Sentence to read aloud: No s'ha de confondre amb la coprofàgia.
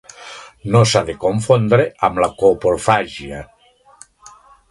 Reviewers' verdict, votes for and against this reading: accepted, 2, 0